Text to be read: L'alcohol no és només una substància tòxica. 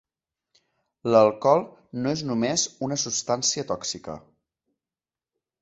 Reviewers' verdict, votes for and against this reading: accepted, 2, 0